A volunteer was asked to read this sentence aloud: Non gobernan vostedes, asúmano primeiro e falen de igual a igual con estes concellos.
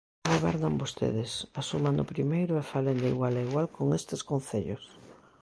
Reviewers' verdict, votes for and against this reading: rejected, 0, 2